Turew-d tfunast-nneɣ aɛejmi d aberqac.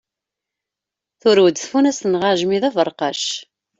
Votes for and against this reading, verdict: 2, 0, accepted